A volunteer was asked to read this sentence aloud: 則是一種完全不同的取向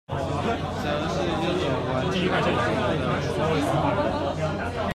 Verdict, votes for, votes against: rejected, 1, 2